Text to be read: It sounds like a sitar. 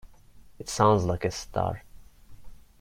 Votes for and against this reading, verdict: 0, 2, rejected